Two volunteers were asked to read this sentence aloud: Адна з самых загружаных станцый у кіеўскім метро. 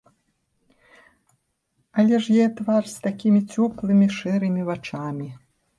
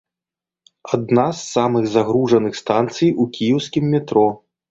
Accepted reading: second